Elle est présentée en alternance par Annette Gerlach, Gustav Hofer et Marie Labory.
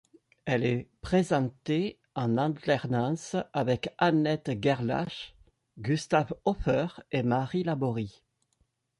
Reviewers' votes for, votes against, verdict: 1, 2, rejected